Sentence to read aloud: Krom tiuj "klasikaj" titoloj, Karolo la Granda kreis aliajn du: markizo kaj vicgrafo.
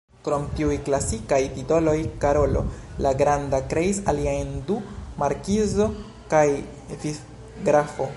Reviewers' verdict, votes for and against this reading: rejected, 1, 2